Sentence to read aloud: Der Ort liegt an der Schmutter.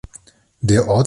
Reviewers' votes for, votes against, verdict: 0, 2, rejected